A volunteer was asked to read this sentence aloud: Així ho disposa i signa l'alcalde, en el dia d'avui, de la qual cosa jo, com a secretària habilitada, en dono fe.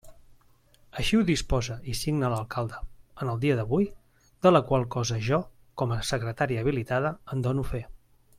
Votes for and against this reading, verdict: 2, 0, accepted